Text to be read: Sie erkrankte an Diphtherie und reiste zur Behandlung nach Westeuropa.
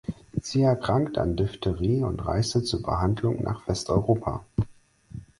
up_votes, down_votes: 4, 0